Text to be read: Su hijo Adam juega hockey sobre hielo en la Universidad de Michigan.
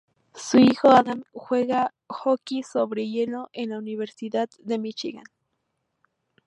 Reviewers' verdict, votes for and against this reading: rejected, 0, 2